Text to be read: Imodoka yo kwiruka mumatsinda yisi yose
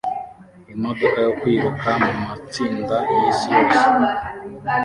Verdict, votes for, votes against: rejected, 0, 2